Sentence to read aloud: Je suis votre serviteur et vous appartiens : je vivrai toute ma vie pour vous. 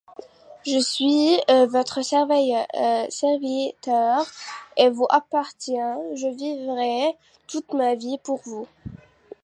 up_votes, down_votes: 1, 2